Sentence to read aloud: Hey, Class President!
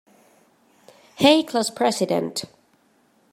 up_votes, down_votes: 1, 2